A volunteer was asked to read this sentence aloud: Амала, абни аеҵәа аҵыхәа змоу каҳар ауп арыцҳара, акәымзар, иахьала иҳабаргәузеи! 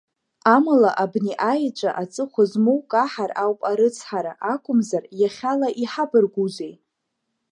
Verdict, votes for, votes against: accepted, 2, 0